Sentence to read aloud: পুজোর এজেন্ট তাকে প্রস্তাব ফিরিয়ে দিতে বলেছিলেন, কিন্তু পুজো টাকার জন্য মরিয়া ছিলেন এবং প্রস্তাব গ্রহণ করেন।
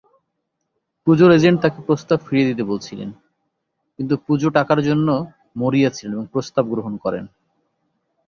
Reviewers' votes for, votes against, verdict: 1, 2, rejected